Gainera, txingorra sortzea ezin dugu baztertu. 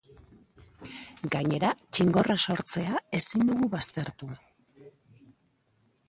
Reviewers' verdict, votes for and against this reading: rejected, 2, 2